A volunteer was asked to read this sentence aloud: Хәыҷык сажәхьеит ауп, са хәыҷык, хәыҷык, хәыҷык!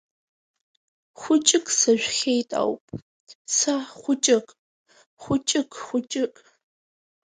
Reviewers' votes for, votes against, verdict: 3, 2, accepted